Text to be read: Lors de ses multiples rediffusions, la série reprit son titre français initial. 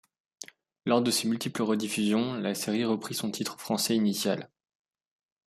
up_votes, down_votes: 2, 0